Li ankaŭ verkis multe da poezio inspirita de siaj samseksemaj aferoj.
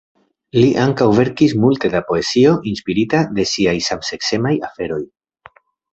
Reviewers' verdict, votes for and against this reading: accepted, 2, 0